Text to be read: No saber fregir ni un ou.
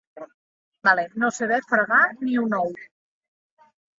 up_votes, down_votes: 0, 2